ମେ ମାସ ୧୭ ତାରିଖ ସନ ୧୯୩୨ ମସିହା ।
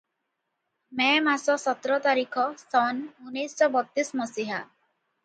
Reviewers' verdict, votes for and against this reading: rejected, 0, 2